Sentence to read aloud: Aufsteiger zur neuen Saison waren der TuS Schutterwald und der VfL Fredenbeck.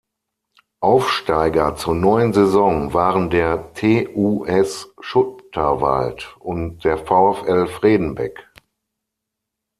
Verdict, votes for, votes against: rejected, 0, 6